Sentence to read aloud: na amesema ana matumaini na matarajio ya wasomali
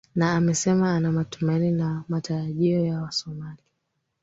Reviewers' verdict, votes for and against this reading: rejected, 1, 3